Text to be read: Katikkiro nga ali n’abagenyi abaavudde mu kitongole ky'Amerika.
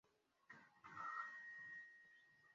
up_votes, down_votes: 0, 2